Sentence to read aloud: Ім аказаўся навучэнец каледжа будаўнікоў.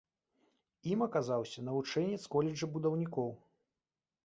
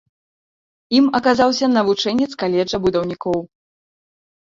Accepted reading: second